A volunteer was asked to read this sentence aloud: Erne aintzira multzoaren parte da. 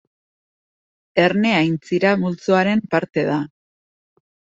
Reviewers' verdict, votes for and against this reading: accepted, 2, 0